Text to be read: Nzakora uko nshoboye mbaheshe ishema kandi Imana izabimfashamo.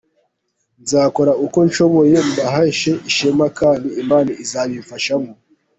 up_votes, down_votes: 0, 2